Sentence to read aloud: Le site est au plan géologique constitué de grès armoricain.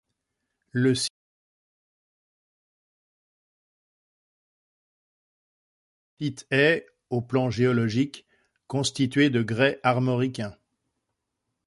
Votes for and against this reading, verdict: 0, 2, rejected